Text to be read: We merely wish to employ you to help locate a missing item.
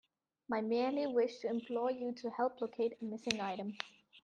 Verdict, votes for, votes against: rejected, 0, 2